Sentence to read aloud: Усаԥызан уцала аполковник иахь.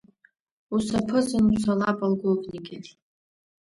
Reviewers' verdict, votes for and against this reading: accepted, 2, 0